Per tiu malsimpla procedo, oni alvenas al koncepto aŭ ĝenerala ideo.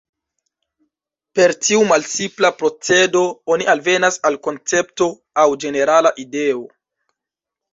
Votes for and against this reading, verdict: 1, 2, rejected